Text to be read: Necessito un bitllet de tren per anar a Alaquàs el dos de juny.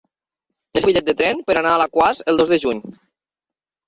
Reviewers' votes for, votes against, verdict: 0, 2, rejected